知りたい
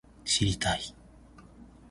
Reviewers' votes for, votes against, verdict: 2, 0, accepted